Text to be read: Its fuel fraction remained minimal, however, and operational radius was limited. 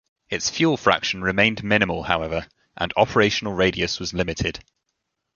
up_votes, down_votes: 2, 0